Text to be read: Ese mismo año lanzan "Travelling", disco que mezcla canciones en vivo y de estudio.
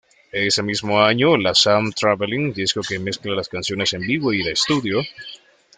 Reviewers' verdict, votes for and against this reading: rejected, 1, 2